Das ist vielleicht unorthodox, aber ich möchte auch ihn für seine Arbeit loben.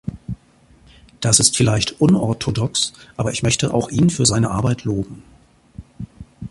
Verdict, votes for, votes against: accepted, 2, 0